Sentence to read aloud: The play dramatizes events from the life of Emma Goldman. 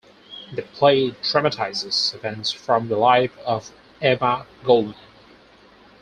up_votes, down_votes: 4, 2